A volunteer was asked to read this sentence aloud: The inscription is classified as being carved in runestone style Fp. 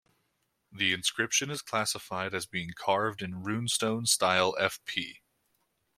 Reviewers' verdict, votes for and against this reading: rejected, 1, 2